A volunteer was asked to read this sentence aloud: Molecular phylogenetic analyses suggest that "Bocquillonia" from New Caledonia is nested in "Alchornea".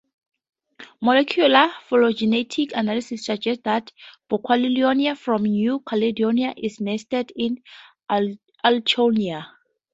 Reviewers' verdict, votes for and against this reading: rejected, 0, 2